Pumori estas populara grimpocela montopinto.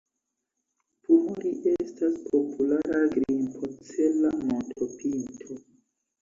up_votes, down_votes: 1, 2